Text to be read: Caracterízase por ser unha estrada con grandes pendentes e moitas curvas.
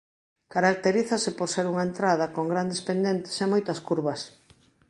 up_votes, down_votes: 0, 2